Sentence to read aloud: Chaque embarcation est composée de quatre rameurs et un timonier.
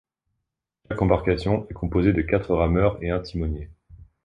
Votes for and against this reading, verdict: 0, 2, rejected